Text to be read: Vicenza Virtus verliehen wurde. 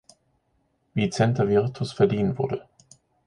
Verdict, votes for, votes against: accepted, 3, 1